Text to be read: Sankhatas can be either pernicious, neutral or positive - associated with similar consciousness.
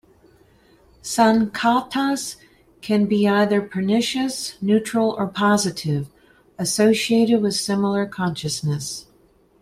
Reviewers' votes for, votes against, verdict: 1, 2, rejected